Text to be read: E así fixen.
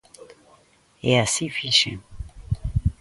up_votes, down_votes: 2, 0